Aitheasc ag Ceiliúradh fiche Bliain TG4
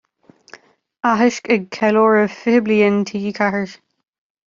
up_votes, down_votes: 0, 2